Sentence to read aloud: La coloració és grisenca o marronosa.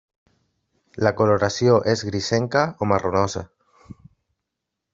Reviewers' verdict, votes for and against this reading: accepted, 3, 0